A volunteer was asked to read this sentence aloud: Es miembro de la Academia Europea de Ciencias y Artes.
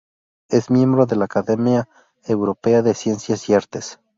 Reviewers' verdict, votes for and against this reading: accepted, 2, 0